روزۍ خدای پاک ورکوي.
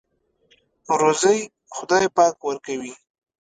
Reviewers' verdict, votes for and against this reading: accepted, 2, 0